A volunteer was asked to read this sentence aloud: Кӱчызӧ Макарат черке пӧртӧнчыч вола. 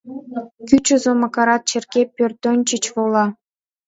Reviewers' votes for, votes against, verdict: 2, 0, accepted